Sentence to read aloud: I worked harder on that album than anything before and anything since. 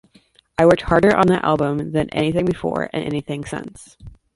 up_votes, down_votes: 2, 0